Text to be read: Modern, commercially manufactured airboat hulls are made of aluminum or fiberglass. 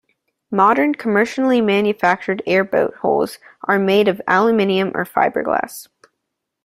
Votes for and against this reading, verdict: 2, 0, accepted